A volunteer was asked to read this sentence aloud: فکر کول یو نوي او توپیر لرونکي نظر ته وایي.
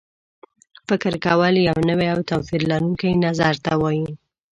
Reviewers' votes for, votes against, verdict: 2, 1, accepted